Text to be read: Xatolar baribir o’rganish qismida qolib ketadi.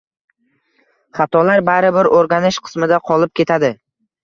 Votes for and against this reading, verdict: 2, 0, accepted